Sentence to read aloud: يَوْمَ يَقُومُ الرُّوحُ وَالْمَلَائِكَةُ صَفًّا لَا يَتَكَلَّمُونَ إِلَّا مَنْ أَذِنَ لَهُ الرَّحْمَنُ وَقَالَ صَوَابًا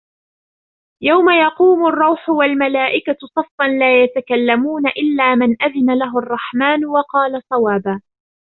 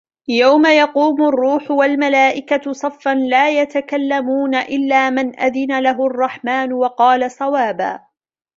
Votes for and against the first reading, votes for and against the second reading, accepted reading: 1, 2, 2, 1, second